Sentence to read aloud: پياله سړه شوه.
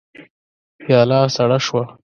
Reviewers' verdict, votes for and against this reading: accepted, 2, 0